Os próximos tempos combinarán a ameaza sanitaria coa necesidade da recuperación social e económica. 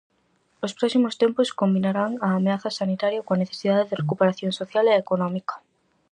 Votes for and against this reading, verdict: 2, 2, rejected